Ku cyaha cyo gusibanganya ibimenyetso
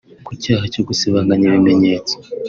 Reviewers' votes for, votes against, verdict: 1, 2, rejected